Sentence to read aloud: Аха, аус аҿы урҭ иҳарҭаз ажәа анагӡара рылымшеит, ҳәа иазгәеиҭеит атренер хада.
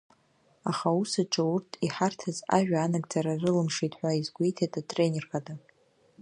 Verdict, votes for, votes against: accepted, 2, 0